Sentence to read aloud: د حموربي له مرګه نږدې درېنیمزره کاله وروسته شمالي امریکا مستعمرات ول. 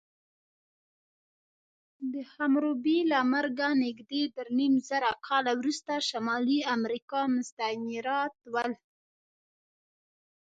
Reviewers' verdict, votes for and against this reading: accepted, 2, 1